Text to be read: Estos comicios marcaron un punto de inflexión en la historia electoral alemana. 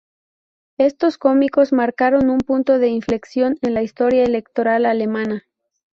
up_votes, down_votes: 0, 4